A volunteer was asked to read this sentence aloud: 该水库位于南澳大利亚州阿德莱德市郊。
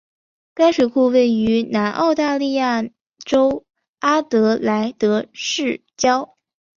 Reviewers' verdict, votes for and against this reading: accepted, 3, 0